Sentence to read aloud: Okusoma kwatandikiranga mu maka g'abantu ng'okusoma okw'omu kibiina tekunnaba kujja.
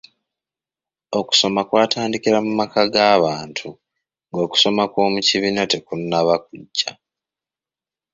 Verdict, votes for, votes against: rejected, 0, 2